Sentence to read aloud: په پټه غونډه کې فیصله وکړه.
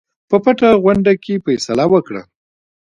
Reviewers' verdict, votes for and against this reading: accepted, 2, 1